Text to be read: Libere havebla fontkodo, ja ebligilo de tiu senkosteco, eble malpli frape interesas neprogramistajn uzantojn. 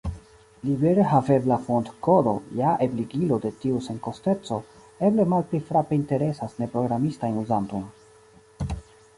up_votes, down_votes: 1, 2